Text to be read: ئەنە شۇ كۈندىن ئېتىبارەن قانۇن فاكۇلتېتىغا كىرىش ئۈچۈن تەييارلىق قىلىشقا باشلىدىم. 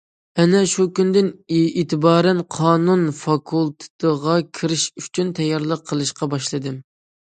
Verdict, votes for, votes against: accepted, 2, 0